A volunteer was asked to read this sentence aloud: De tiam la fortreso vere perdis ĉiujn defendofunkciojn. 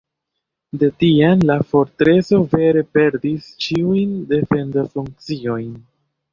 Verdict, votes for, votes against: accepted, 2, 0